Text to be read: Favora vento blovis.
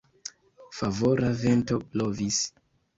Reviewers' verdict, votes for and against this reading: accepted, 2, 0